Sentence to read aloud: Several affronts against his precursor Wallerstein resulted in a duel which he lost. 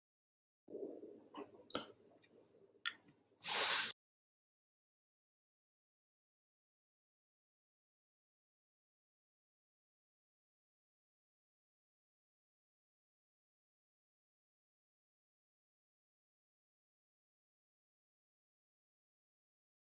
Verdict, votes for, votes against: rejected, 0, 2